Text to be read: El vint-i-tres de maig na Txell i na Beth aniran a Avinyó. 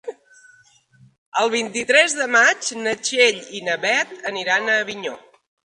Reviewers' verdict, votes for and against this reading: accepted, 3, 0